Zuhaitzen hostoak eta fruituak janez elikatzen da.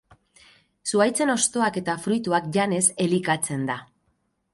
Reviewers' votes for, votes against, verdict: 4, 0, accepted